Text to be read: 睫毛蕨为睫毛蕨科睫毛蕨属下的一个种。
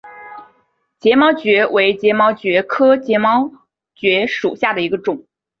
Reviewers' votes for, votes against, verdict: 1, 2, rejected